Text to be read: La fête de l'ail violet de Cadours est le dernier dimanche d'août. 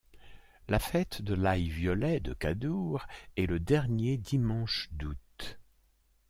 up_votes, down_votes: 2, 0